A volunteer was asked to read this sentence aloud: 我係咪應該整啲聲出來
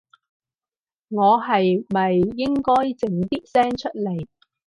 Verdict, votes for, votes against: accepted, 4, 0